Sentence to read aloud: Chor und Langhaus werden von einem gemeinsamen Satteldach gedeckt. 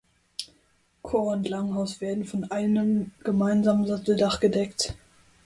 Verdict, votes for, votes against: accepted, 2, 0